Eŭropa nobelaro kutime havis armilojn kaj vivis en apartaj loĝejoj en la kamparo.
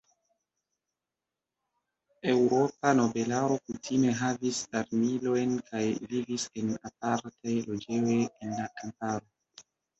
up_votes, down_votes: 1, 2